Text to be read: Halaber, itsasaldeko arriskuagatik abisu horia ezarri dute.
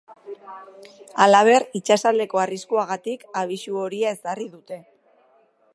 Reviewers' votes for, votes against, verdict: 2, 0, accepted